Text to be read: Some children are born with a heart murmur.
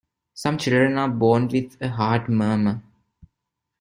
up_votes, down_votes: 2, 0